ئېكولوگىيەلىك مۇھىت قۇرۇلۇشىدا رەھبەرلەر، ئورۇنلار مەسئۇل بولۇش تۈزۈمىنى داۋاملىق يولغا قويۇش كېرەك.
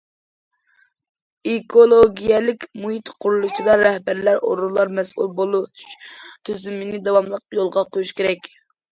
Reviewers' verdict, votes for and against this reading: accepted, 2, 0